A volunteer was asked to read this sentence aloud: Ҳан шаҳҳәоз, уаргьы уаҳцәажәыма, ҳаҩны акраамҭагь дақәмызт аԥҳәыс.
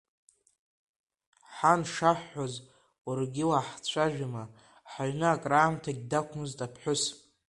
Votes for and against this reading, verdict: 0, 2, rejected